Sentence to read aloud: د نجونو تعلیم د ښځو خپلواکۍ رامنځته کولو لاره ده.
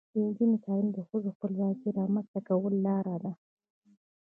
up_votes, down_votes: 0, 2